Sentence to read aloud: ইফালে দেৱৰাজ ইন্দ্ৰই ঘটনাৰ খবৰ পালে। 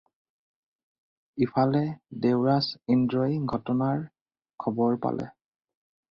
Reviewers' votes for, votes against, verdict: 4, 0, accepted